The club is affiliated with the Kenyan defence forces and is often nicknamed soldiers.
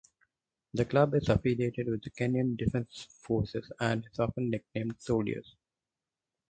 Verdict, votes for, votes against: accepted, 4, 0